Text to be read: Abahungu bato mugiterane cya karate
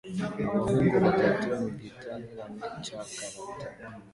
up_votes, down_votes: 2, 1